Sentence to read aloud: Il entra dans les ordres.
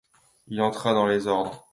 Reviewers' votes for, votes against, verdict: 2, 0, accepted